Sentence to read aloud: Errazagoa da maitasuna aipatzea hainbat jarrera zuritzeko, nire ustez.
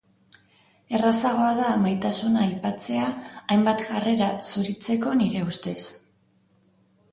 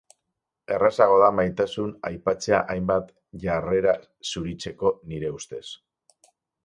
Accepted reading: first